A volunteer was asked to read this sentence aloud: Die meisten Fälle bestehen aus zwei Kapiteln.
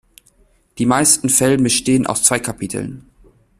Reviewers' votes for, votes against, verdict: 1, 2, rejected